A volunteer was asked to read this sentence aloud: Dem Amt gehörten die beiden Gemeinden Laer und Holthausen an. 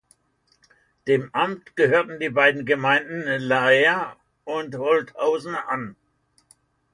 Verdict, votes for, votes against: rejected, 0, 2